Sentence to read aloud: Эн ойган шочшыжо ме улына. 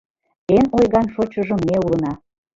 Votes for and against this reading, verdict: 2, 0, accepted